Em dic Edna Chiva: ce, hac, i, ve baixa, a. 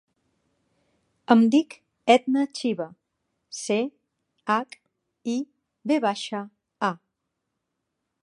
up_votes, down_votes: 3, 0